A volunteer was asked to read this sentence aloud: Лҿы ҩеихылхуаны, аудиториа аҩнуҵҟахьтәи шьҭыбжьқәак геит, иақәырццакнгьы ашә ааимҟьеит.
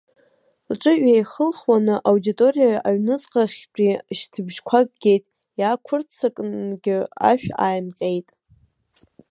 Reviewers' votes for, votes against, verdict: 0, 2, rejected